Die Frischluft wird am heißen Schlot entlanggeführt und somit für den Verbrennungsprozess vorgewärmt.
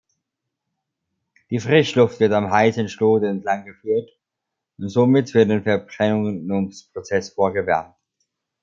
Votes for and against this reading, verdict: 1, 2, rejected